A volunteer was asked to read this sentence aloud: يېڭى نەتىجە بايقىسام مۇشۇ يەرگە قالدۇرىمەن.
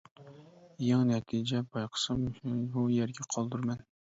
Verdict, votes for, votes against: rejected, 0, 2